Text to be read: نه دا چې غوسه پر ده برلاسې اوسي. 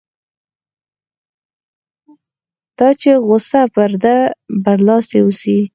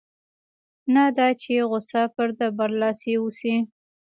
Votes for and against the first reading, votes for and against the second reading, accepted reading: 0, 4, 2, 0, second